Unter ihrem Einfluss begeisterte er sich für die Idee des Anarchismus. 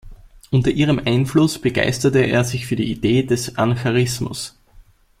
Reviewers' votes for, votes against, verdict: 1, 2, rejected